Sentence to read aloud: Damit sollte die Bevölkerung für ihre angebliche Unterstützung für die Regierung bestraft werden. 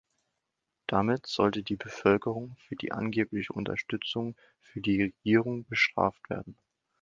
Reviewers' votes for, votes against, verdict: 1, 2, rejected